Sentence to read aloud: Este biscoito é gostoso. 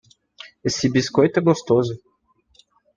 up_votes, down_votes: 1, 2